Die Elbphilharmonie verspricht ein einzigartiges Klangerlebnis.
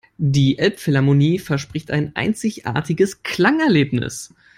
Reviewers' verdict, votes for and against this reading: accepted, 2, 1